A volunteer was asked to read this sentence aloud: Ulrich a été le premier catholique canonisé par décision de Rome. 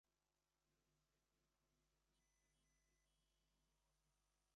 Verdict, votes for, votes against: rejected, 0, 2